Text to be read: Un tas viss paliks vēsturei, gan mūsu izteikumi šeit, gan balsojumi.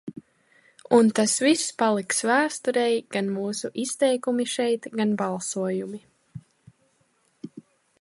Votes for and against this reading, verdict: 2, 0, accepted